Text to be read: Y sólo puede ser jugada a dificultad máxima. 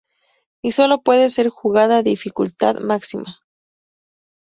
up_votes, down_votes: 4, 0